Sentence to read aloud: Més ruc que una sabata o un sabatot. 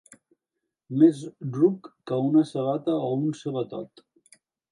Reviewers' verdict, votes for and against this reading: accepted, 2, 0